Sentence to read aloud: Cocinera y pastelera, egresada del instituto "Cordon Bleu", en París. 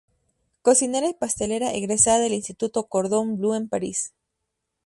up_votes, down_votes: 2, 0